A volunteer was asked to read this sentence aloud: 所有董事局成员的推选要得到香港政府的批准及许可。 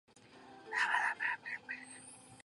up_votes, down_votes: 0, 3